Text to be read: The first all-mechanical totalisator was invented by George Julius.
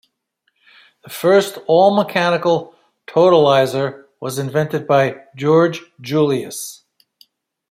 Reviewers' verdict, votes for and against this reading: rejected, 1, 2